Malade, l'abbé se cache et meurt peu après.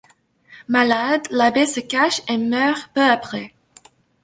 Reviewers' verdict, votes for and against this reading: accepted, 2, 0